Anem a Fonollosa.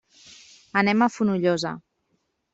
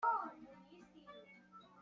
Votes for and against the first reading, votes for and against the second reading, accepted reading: 3, 0, 0, 2, first